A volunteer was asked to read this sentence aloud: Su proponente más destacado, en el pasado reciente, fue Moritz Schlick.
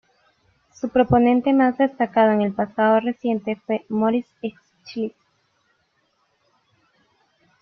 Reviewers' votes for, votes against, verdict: 1, 2, rejected